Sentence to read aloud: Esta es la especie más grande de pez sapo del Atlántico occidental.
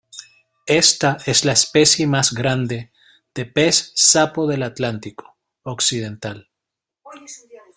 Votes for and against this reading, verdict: 2, 0, accepted